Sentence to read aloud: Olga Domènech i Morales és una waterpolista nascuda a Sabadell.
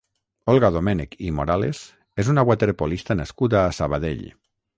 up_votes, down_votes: 3, 3